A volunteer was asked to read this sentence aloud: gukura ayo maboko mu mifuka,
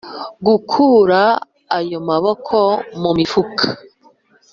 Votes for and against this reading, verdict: 2, 0, accepted